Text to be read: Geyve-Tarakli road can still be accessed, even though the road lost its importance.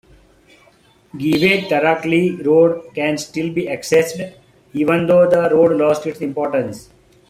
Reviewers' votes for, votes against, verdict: 2, 0, accepted